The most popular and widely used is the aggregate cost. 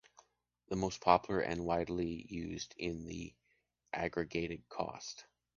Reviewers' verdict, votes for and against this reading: rejected, 0, 2